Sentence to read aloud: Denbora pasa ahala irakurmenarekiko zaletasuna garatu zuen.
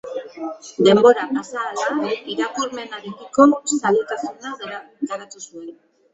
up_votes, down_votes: 0, 2